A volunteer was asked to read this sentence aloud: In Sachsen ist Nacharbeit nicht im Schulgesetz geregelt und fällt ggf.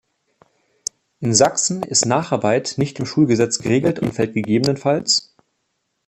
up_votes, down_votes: 2, 1